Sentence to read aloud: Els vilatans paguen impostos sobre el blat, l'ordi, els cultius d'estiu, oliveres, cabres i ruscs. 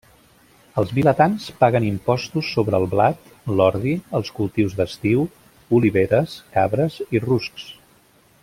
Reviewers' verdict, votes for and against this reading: accepted, 2, 0